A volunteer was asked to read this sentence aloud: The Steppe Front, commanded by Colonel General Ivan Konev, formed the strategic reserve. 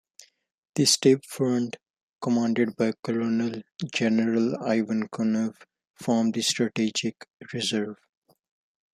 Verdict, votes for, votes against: rejected, 1, 2